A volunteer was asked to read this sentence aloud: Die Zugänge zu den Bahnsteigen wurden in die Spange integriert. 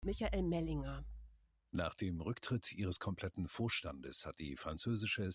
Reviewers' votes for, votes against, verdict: 0, 2, rejected